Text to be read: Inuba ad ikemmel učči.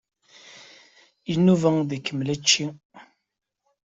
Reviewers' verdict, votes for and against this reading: accepted, 2, 1